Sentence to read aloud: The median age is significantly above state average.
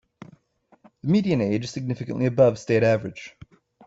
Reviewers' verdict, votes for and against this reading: rejected, 1, 2